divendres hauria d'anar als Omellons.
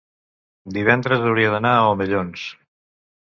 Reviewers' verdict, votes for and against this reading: rejected, 1, 2